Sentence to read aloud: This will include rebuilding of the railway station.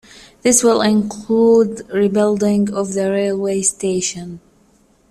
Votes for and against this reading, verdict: 2, 0, accepted